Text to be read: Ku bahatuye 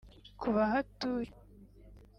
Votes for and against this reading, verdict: 1, 2, rejected